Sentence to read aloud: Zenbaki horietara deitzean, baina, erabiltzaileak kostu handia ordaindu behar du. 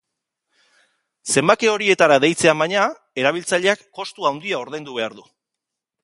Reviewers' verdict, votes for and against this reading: accepted, 2, 1